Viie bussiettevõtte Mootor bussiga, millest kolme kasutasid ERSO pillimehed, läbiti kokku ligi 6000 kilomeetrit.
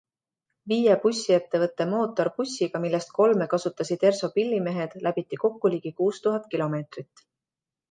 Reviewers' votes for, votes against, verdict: 0, 2, rejected